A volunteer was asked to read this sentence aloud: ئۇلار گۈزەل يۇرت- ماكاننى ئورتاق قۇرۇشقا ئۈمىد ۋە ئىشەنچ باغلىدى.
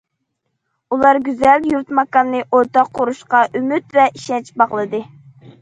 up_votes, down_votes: 2, 0